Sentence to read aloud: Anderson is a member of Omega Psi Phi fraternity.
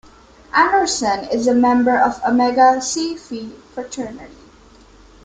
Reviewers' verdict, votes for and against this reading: rejected, 1, 2